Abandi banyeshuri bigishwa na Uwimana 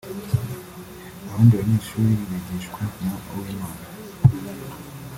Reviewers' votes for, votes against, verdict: 2, 0, accepted